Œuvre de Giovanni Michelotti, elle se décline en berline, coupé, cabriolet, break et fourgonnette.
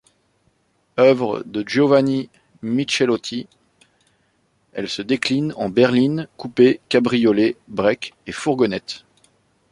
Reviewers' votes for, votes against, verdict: 2, 0, accepted